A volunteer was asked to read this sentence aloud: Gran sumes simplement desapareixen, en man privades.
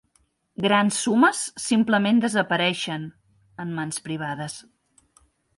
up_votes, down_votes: 1, 2